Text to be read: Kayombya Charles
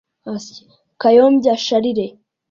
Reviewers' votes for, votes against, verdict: 2, 1, accepted